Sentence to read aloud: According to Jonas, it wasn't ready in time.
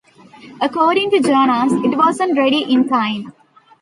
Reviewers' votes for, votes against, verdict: 2, 0, accepted